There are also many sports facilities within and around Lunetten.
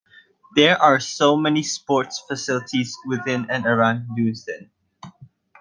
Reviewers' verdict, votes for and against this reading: rejected, 0, 3